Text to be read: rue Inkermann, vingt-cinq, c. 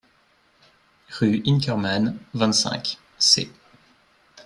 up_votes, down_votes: 2, 1